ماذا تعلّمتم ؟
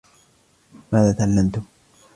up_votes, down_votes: 2, 0